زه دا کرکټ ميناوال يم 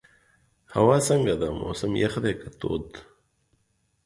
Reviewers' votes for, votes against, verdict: 0, 2, rejected